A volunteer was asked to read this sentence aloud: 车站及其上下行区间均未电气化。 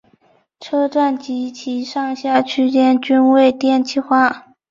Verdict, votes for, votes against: rejected, 2, 2